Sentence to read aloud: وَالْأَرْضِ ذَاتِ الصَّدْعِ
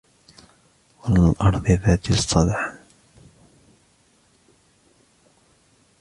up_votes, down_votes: 2, 0